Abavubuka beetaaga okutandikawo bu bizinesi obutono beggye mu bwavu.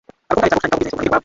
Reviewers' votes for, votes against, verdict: 0, 3, rejected